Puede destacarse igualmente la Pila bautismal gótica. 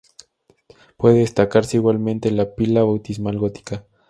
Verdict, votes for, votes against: accepted, 2, 0